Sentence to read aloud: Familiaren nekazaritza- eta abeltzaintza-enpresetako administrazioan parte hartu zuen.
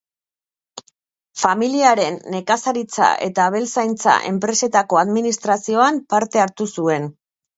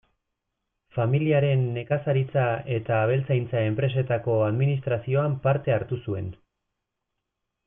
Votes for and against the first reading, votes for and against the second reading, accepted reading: 0, 2, 2, 0, second